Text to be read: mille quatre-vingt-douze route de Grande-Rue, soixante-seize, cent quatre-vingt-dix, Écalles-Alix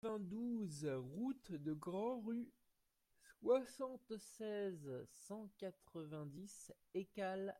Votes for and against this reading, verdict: 1, 2, rejected